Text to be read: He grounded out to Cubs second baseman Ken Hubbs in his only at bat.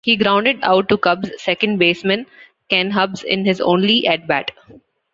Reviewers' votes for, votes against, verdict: 2, 0, accepted